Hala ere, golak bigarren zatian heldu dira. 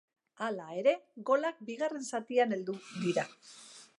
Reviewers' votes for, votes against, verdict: 2, 0, accepted